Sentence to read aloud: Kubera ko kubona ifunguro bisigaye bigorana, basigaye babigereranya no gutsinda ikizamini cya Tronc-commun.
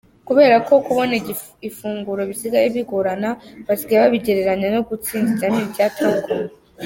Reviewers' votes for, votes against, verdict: 1, 2, rejected